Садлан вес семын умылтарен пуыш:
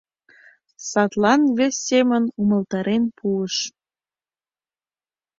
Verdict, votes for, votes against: accepted, 2, 0